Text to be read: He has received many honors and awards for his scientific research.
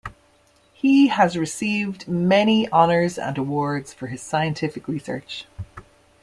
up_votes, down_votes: 2, 0